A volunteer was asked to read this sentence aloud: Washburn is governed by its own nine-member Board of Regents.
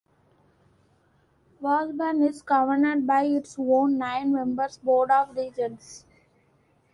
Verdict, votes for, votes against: rejected, 1, 2